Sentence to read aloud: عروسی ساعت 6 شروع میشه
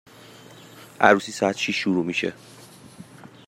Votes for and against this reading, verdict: 0, 2, rejected